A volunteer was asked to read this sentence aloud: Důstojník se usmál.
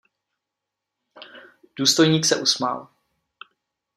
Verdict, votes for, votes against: accepted, 2, 0